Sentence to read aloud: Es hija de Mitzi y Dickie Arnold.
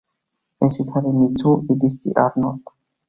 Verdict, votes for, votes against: rejected, 0, 2